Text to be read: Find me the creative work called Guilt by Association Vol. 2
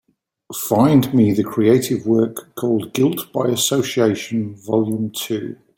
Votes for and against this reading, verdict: 0, 2, rejected